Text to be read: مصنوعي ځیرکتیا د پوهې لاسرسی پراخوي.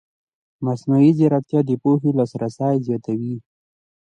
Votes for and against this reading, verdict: 2, 0, accepted